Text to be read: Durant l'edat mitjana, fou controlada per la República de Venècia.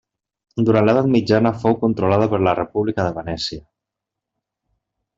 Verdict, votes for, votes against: accepted, 2, 0